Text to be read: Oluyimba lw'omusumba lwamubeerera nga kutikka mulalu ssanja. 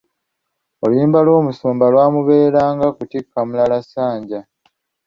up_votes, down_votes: 0, 2